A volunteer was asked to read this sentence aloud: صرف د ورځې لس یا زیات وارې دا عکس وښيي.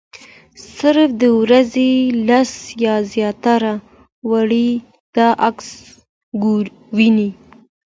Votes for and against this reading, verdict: 2, 1, accepted